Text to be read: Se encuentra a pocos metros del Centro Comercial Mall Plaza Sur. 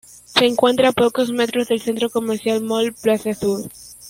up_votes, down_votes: 2, 1